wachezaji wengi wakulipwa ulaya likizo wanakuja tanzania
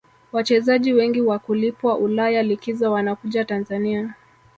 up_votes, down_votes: 0, 2